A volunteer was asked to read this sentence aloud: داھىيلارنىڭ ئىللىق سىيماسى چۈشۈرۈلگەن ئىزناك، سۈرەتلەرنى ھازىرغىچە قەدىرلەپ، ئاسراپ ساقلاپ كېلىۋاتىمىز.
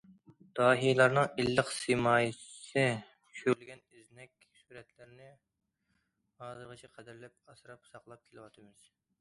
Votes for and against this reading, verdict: 1, 2, rejected